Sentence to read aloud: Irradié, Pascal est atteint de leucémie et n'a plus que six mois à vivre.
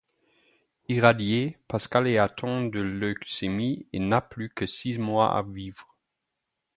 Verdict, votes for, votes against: rejected, 0, 4